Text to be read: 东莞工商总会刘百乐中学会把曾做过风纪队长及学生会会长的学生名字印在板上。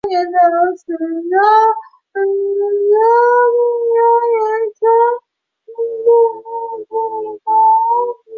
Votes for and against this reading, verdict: 0, 2, rejected